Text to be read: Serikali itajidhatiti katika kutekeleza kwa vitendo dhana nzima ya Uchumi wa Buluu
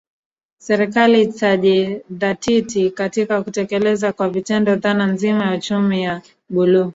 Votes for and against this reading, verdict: 0, 2, rejected